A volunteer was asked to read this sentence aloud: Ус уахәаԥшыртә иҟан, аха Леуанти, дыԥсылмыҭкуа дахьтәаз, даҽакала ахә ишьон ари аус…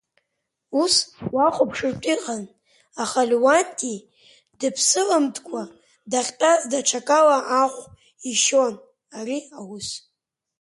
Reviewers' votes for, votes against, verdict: 2, 0, accepted